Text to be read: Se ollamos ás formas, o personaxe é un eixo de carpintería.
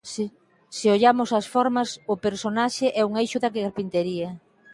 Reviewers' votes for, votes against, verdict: 0, 2, rejected